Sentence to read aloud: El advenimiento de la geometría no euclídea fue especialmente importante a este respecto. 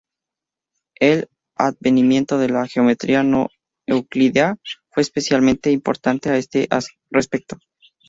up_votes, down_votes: 0, 2